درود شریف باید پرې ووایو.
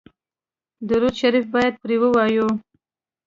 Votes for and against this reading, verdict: 2, 0, accepted